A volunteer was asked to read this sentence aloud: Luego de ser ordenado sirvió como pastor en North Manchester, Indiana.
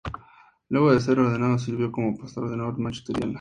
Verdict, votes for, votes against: accepted, 2, 0